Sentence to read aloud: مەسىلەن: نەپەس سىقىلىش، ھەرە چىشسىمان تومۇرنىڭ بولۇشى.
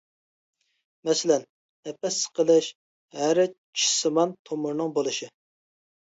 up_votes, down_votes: 2, 0